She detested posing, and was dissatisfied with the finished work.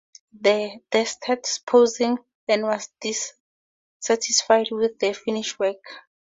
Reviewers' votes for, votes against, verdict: 2, 0, accepted